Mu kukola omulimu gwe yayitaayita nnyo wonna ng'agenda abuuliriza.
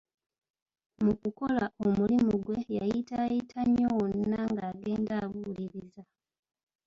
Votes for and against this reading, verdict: 1, 2, rejected